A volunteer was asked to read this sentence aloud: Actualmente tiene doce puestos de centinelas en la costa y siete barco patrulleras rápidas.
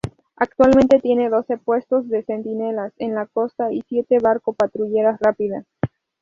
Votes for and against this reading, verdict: 0, 2, rejected